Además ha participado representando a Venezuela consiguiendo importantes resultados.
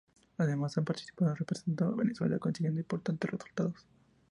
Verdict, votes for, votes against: rejected, 0, 2